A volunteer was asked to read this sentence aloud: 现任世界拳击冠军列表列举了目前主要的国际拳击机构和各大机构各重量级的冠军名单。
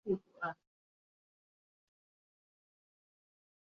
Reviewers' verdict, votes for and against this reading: rejected, 0, 2